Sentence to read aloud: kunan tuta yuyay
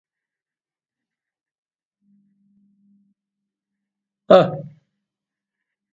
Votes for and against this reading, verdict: 0, 2, rejected